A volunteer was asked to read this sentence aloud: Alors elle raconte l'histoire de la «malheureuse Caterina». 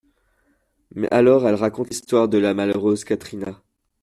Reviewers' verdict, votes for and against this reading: rejected, 0, 2